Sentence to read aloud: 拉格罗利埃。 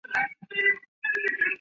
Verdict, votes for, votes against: rejected, 0, 4